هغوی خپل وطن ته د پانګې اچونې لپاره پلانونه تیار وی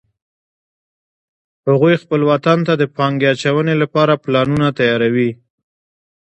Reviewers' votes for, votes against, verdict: 1, 2, rejected